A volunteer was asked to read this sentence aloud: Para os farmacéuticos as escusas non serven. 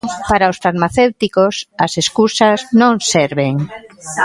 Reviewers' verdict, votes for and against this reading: accepted, 2, 1